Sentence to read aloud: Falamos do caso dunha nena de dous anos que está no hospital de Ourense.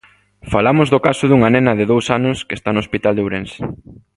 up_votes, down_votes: 2, 0